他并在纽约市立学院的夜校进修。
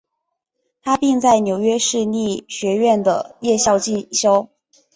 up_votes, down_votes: 2, 0